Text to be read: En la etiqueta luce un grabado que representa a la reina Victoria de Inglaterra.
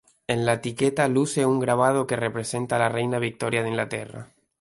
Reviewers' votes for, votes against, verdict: 2, 2, rejected